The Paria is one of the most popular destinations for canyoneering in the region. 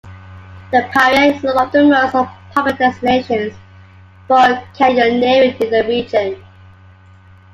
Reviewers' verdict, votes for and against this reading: accepted, 2, 0